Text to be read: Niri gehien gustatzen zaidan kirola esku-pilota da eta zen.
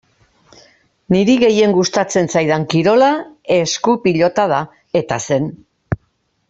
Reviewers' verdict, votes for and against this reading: accepted, 2, 1